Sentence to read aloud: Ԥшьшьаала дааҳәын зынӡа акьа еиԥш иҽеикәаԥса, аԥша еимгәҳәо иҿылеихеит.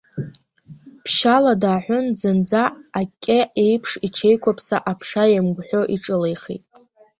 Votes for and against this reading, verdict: 1, 3, rejected